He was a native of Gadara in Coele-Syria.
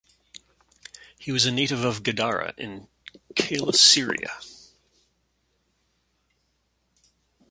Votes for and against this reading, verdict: 2, 0, accepted